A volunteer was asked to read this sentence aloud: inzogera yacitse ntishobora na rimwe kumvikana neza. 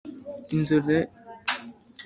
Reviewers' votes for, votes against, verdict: 1, 2, rejected